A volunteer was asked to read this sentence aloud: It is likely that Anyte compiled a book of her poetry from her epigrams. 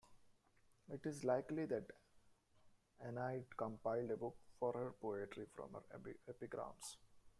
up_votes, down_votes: 0, 2